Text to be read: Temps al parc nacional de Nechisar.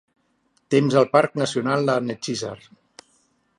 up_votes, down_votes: 2, 0